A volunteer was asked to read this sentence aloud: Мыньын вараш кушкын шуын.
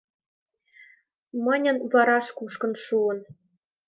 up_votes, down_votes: 2, 0